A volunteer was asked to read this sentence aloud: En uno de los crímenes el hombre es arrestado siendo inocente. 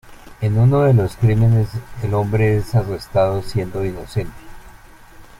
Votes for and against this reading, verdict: 2, 0, accepted